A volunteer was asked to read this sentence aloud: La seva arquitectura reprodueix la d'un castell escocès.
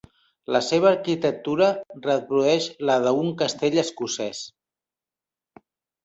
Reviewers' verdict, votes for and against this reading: rejected, 1, 3